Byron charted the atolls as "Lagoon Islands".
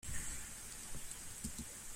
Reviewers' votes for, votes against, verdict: 0, 2, rejected